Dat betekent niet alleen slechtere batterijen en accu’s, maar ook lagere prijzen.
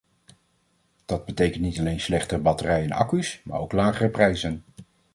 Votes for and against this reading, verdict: 2, 1, accepted